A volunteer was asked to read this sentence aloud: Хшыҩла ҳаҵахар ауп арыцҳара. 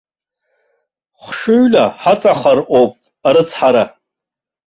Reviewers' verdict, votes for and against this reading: rejected, 1, 2